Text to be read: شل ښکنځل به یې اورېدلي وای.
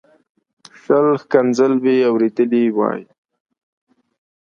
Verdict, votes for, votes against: accepted, 2, 0